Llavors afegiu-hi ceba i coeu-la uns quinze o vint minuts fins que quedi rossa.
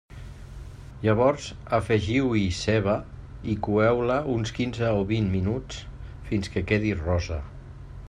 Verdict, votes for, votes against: rejected, 0, 2